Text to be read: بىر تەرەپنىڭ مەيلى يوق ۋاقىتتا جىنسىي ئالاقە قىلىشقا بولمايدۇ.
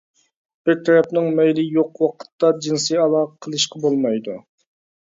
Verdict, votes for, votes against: accepted, 2, 0